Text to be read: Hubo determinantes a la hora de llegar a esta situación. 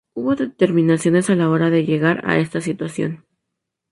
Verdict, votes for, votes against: accepted, 2, 0